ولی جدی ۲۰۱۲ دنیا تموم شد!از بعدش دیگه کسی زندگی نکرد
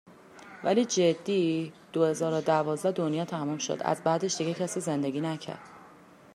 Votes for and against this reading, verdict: 0, 2, rejected